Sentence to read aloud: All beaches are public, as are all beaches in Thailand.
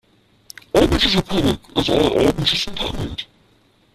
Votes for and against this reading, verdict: 0, 2, rejected